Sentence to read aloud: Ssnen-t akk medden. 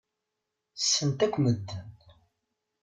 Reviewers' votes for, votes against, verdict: 1, 2, rejected